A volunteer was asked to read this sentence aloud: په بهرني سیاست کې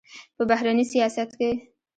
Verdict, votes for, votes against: rejected, 1, 2